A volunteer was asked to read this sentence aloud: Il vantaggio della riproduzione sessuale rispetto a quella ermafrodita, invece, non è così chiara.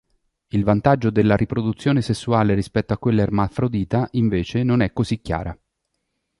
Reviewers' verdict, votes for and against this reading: accepted, 3, 0